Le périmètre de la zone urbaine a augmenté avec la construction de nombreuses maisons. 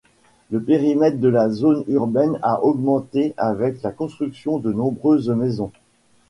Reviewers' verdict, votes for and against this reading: accepted, 3, 1